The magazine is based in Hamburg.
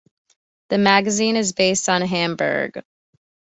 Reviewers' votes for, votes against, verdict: 0, 2, rejected